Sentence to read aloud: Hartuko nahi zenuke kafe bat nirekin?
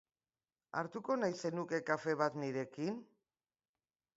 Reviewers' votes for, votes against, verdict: 2, 0, accepted